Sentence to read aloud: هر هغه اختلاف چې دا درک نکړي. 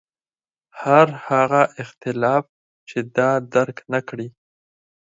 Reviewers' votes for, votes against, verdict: 4, 0, accepted